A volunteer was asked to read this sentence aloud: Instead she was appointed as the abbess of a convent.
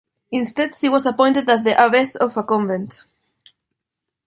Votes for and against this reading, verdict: 2, 0, accepted